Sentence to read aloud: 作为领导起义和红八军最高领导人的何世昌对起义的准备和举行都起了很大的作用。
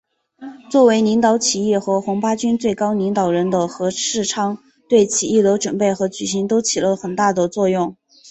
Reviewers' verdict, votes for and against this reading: rejected, 0, 2